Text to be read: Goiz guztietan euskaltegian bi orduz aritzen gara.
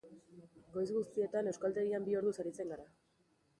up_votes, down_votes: 0, 2